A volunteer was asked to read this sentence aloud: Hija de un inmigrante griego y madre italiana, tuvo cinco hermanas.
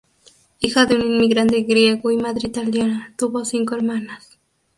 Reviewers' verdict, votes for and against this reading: accepted, 2, 0